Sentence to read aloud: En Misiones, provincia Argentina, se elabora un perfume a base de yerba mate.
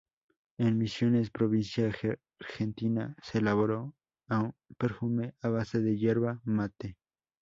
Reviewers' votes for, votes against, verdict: 2, 4, rejected